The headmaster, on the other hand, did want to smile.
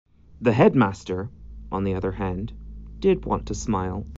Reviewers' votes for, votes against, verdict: 2, 0, accepted